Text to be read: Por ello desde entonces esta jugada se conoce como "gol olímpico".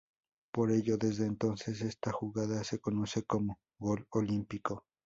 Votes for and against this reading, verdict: 2, 0, accepted